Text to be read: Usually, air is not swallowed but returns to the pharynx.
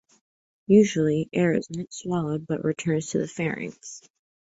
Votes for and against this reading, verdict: 2, 0, accepted